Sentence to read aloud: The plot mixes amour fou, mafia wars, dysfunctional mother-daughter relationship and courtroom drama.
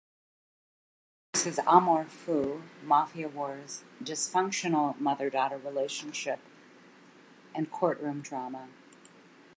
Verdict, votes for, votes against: rejected, 0, 2